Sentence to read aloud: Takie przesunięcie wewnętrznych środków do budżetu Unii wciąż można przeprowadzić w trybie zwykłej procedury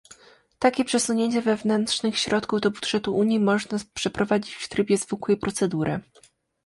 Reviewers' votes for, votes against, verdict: 0, 2, rejected